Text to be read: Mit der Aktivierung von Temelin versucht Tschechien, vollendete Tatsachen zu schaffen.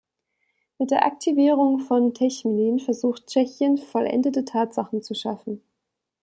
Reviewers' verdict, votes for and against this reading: rejected, 0, 2